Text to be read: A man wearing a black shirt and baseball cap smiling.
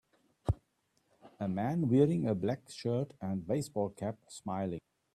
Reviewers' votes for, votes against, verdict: 2, 0, accepted